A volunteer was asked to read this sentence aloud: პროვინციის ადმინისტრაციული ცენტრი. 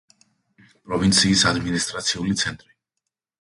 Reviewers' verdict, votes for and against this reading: accepted, 2, 0